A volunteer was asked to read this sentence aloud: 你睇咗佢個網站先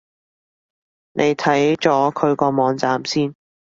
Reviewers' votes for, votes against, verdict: 2, 0, accepted